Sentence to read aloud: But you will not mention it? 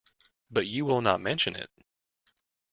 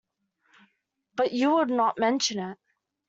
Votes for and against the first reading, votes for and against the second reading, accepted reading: 2, 0, 0, 2, first